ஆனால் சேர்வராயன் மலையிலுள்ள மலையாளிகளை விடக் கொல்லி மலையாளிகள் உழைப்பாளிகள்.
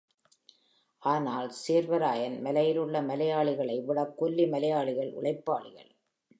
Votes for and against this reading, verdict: 3, 0, accepted